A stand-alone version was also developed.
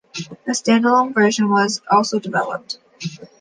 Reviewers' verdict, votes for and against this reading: accepted, 2, 0